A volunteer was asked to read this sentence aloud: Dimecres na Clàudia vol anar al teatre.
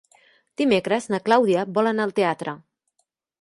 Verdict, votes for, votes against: accepted, 3, 0